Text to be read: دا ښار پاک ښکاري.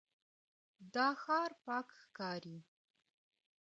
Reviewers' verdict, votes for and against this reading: accepted, 2, 0